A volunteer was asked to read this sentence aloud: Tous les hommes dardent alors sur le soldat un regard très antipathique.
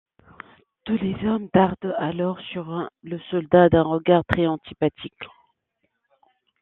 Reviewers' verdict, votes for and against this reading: rejected, 1, 2